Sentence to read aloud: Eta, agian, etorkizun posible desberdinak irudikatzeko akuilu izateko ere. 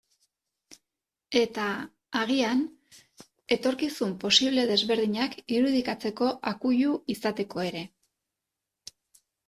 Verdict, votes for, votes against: accepted, 2, 0